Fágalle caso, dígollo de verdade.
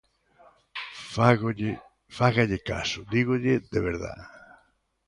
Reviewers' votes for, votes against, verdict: 0, 2, rejected